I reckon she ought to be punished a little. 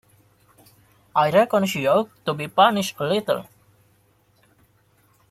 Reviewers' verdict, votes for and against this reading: rejected, 0, 2